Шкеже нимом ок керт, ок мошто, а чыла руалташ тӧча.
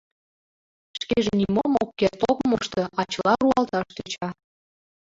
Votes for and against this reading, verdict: 0, 2, rejected